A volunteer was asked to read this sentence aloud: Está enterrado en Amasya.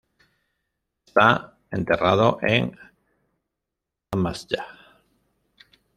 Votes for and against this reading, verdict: 0, 2, rejected